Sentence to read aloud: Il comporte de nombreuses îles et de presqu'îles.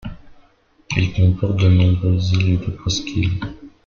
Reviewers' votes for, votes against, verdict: 0, 2, rejected